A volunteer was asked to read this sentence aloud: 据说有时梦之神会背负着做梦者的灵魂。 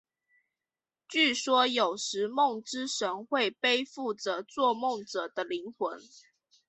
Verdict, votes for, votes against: accepted, 2, 0